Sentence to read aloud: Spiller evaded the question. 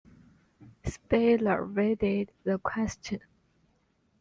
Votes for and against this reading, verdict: 1, 2, rejected